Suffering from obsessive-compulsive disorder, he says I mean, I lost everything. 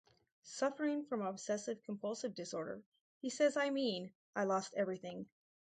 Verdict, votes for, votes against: accepted, 4, 0